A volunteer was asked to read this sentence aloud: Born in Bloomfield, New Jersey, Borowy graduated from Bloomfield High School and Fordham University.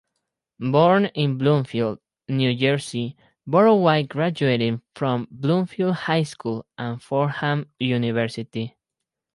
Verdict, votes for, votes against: rejected, 0, 2